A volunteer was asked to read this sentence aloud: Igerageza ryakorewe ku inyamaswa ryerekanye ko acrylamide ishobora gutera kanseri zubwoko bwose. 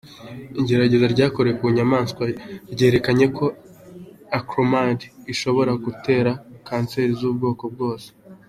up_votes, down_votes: 3, 1